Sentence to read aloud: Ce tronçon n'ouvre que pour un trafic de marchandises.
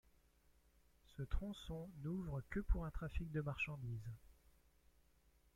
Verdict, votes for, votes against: rejected, 1, 2